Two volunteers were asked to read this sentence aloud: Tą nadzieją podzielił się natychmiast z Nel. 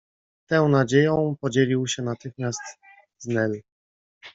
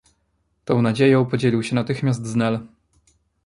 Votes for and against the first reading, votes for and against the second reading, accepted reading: 1, 2, 2, 0, second